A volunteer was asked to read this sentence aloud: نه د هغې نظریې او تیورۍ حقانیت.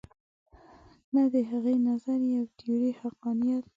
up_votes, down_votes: 2, 0